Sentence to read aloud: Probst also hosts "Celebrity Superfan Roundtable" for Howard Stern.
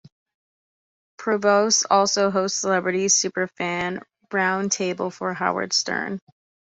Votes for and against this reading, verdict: 1, 2, rejected